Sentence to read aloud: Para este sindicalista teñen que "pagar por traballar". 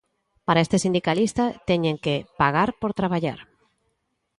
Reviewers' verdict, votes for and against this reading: accepted, 2, 0